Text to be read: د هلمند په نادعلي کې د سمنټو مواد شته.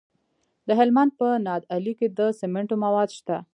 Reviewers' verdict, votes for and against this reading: rejected, 1, 2